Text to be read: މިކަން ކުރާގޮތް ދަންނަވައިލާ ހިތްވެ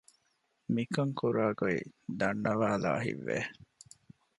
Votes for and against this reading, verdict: 2, 0, accepted